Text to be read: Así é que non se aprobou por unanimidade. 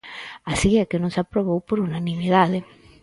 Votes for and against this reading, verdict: 4, 0, accepted